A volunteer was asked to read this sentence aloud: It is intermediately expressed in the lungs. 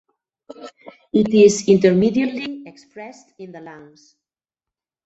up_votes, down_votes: 0, 2